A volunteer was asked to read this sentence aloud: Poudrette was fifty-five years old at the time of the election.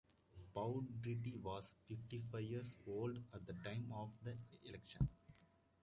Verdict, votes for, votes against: accepted, 2, 0